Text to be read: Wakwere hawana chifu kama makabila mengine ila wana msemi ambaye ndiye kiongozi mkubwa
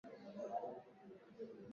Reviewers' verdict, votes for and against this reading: rejected, 0, 2